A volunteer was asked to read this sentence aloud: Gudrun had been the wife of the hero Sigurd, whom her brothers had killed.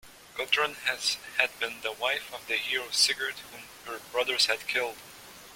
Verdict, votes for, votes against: rejected, 1, 2